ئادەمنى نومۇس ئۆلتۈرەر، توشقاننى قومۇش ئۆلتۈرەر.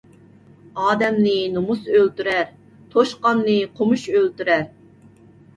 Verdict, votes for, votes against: accepted, 2, 0